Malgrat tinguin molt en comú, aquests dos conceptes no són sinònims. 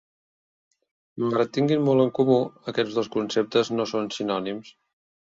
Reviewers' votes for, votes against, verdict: 0, 2, rejected